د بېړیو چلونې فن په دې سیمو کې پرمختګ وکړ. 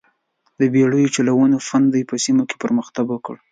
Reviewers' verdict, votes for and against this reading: accepted, 2, 0